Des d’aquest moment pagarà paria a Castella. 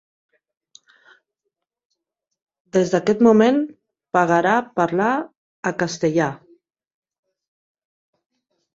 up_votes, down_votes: 0, 3